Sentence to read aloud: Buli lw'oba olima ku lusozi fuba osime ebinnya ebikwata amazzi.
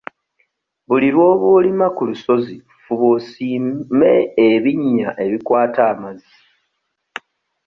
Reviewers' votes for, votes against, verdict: 0, 2, rejected